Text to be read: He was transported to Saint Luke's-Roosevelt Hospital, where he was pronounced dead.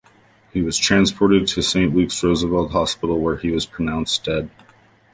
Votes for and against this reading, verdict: 2, 0, accepted